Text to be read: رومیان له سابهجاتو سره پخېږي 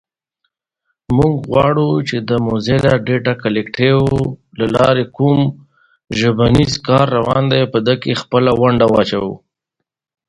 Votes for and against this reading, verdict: 1, 2, rejected